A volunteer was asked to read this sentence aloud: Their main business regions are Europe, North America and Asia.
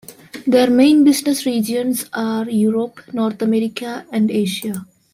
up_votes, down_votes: 2, 0